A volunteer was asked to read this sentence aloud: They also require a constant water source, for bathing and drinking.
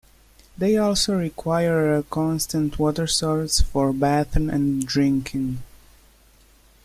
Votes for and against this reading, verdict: 1, 2, rejected